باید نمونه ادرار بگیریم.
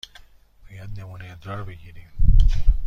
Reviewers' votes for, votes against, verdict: 2, 1, accepted